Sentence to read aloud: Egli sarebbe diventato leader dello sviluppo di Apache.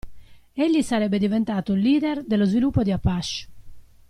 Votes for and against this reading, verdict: 2, 0, accepted